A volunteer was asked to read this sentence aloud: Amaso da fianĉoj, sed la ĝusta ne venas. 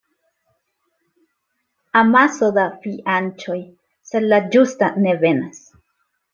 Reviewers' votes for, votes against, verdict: 2, 0, accepted